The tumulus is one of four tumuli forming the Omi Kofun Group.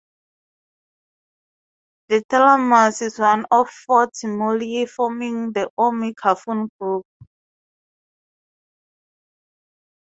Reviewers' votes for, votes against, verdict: 2, 0, accepted